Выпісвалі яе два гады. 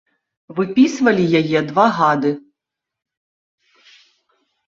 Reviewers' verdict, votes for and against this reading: rejected, 1, 2